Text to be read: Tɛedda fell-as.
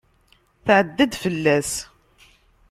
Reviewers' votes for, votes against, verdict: 1, 2, rejected